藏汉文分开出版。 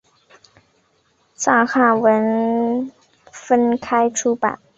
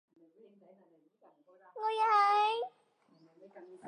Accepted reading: first